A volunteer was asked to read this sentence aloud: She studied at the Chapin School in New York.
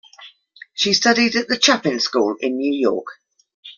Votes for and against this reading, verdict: 2, 0, accepted